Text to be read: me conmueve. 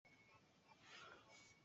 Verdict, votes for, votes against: rejected, 0, 2